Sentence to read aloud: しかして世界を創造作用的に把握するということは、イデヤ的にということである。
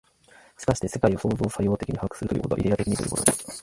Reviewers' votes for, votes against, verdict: 2, 4, rejected